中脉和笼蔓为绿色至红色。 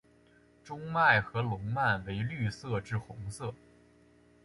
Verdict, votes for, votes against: accepted, 5, 1